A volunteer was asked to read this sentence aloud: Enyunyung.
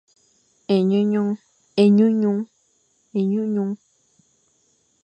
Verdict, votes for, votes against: accepted, 2, 0